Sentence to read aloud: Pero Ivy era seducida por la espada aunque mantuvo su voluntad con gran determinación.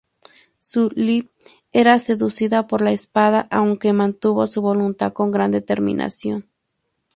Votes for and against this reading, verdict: 2, 6, rejected